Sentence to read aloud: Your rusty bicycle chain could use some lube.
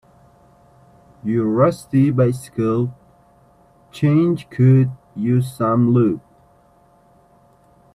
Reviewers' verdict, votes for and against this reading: rejected, 0, 2